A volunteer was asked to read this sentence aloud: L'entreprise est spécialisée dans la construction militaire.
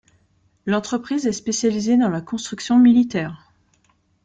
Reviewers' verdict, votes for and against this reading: accepted, 2, 0